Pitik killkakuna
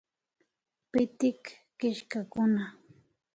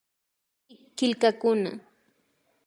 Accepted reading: first